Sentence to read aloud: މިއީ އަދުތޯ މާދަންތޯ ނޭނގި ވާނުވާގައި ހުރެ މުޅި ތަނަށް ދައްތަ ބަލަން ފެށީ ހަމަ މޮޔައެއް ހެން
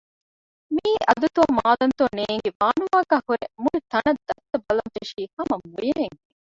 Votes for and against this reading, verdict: 0, 2, rejected